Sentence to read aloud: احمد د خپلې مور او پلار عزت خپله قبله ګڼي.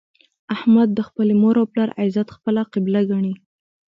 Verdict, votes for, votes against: accepted, 2, 0